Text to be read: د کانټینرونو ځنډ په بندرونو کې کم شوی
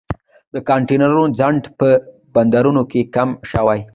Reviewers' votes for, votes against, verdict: 2, 0, accepted